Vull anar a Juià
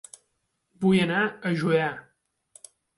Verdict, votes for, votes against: accepted, 2, 0